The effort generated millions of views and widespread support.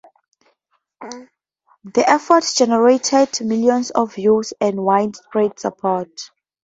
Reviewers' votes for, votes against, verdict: 2, 0, accepted